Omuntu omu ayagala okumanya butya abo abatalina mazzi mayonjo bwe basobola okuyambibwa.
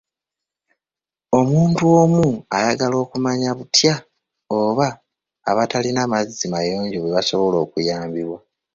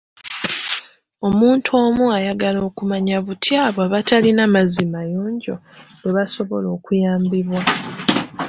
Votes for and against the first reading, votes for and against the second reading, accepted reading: 1, 2, 2, 0, second